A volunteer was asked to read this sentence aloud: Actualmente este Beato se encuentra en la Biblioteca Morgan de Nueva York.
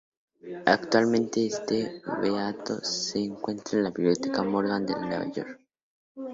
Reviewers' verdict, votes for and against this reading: accepted, 2, 0